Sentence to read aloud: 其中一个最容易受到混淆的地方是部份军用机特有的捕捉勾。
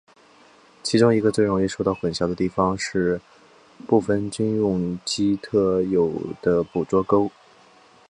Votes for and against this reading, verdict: 2, 0, accepted